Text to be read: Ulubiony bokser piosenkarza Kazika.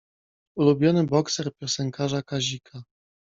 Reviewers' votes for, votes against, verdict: 2, 0, accepted